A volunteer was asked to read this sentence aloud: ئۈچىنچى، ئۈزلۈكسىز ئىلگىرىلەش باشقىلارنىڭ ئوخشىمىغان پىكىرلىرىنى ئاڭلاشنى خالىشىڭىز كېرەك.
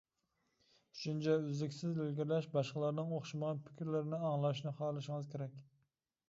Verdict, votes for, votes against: accepted, 2, 0